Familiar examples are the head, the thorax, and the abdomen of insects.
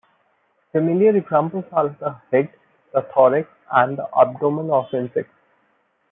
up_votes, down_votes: 0, 2